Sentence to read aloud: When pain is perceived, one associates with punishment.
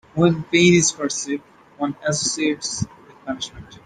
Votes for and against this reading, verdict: 2, 1, accepted